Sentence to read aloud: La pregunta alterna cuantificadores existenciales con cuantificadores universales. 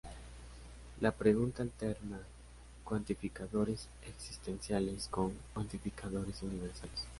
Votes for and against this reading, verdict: 0, 2, rejected